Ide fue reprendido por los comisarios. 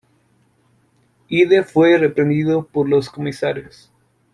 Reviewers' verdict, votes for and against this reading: accepted, 2, 0